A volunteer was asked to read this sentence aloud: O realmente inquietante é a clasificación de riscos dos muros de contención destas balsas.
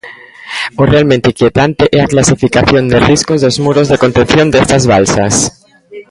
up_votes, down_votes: 1, 2